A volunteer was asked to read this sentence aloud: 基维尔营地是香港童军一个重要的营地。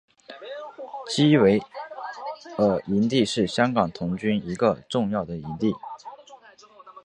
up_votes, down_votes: 1, 2